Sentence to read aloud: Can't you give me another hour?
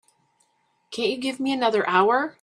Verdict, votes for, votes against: accepted, 2, 0